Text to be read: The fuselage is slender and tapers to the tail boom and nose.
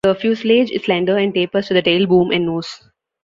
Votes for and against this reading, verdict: 2, 1, accepted